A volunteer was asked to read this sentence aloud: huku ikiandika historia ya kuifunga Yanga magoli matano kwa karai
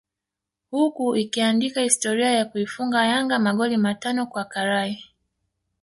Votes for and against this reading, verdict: 2, 1, accepted